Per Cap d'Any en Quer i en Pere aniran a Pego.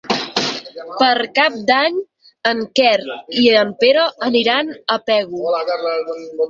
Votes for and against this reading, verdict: 6, 0, accepted